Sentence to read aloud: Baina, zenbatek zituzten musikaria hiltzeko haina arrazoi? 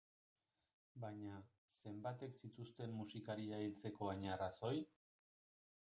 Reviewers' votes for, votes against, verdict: 0, 2, rejected